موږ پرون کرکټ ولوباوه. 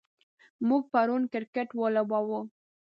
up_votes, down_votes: 2, 0